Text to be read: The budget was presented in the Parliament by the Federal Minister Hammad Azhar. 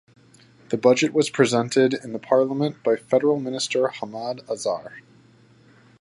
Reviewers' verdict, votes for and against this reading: accepted, 4, 2